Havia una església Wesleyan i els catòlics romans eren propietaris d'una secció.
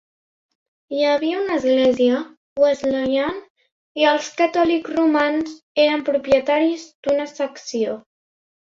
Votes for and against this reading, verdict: 0, 3, rejected